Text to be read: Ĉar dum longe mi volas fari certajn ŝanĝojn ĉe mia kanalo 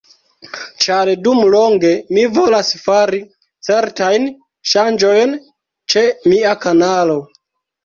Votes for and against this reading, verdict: 2, 0, accepted